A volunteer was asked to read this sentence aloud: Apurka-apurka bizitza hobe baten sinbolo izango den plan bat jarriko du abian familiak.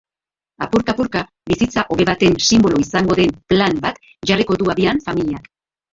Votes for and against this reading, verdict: 3, 2, accepted